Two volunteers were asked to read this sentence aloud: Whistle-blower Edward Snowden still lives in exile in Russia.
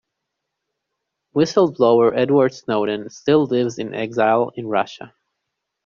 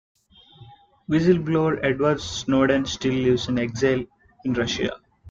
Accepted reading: first